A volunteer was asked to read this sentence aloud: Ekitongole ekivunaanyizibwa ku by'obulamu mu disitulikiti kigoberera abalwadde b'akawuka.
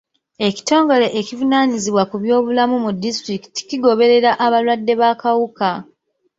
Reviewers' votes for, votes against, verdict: 2, 0, accepted